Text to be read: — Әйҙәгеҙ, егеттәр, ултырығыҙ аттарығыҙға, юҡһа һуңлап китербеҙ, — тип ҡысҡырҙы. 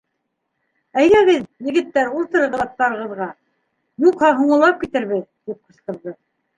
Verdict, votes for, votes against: accepted, 2, 0